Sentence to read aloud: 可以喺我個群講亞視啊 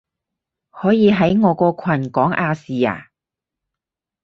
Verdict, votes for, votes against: accepted, 4, 0